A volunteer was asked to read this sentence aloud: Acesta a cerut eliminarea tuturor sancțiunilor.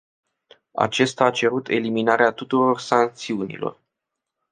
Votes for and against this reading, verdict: 2, 0, accepted